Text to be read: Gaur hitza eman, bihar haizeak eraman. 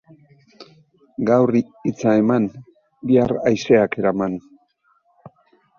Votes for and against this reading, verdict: 2, 0, accepted